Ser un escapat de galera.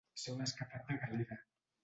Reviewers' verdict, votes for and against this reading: rejected, 1, 2